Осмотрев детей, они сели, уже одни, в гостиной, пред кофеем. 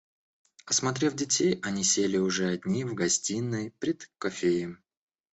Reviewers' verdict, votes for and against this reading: rejected, 1, 2